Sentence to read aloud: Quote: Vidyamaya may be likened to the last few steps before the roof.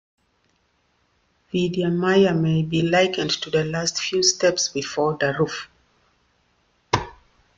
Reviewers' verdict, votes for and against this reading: rejected, 1, 2